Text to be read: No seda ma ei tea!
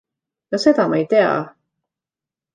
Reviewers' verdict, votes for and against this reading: accepted, 2, 0